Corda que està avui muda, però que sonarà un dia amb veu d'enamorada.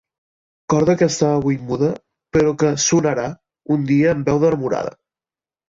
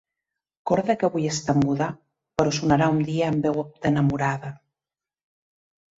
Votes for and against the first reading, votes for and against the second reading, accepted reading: 2, 0, 0, 2, first